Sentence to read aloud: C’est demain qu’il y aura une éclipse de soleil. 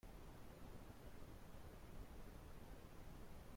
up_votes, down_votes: 0, 2